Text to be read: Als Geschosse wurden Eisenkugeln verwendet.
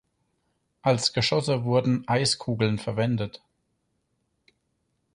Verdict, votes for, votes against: rejected, 0, 4